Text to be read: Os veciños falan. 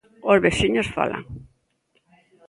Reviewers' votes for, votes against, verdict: 1, 2, rejected